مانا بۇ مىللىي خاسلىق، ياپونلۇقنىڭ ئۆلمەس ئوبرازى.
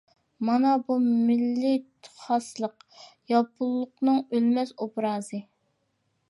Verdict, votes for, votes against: accepted, 2, 0